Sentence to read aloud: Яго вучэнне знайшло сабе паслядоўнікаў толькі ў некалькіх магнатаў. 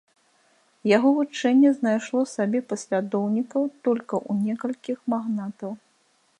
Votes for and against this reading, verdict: 0, 2, rejected